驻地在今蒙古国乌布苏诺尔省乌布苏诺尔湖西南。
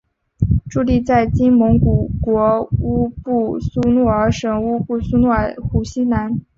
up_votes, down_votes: 2, 0